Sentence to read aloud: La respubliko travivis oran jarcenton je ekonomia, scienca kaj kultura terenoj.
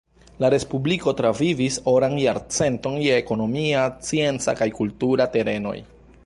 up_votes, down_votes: 1, 2